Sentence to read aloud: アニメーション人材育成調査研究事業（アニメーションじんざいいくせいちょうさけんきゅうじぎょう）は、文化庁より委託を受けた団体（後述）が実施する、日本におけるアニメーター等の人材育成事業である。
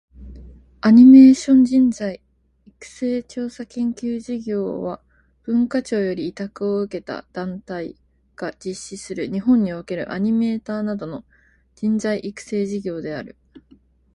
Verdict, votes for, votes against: accepted, 4, 2